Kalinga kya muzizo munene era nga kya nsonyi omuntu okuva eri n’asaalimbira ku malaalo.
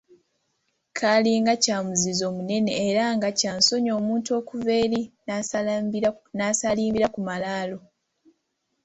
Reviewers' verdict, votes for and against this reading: rejected, 0, 2